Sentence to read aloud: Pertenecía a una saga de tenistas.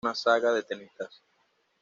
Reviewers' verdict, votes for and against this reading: rejected, 1, 2